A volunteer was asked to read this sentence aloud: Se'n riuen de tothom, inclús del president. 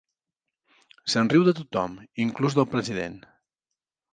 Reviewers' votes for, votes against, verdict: 1, 2, rejected